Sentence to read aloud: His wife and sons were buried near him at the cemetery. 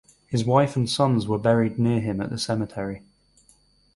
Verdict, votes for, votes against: accepted, 4, 0